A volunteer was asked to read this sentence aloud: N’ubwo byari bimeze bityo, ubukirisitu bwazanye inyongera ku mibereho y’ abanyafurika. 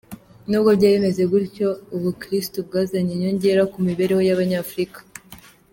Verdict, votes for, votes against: accepted, 2, 0